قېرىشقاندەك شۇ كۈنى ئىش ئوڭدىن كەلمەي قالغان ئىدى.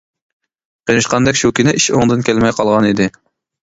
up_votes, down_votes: 2, 0